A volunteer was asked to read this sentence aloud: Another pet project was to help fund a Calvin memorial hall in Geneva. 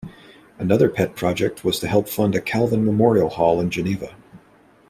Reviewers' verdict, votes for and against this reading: accepted, 3, 0